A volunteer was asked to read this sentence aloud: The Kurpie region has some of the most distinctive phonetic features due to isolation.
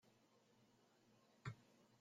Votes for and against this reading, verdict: 0, 2, rejected